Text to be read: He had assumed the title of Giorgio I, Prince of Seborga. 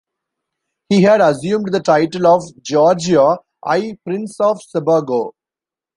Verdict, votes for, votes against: rejected, 0, 2